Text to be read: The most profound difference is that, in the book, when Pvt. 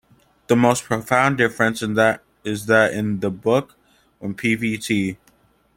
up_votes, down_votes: 0, 2